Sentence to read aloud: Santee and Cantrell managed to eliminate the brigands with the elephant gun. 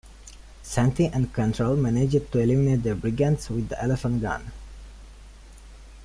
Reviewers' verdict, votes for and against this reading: rejected, 1, 2